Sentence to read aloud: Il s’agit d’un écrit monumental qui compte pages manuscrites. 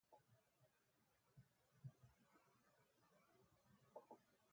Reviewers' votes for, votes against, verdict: 0, 2, rejected